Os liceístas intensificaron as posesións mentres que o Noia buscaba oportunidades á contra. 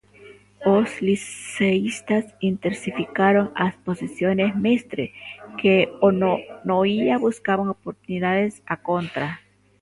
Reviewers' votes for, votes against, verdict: 1, 2, rejected